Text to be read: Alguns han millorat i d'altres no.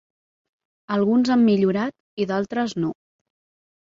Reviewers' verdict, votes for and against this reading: accepted, 3, 0